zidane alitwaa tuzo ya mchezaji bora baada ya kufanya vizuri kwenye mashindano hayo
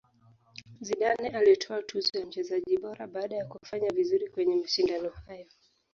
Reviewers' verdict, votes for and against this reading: accepted, 2, 0